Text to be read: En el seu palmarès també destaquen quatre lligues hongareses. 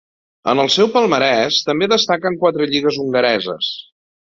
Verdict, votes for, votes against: accepted, 2, 0